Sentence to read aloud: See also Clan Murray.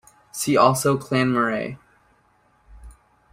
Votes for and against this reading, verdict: 2, 1, accepted